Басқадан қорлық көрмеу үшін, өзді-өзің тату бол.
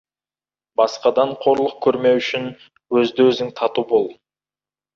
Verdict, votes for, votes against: accepted, 2, 1